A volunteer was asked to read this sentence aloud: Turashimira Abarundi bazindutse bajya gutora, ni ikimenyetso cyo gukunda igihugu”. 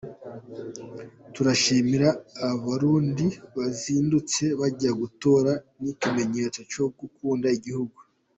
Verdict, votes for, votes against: accepted, 2, 0